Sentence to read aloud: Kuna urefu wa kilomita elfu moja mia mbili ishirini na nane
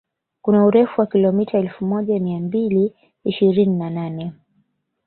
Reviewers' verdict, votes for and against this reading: accepted, 2, 0